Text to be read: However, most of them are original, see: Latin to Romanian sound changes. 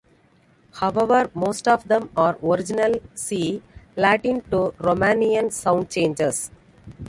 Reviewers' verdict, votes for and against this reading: accepted, 2, 1